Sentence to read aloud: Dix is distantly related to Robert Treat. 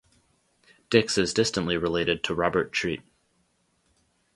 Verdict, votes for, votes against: rejected, 0, 2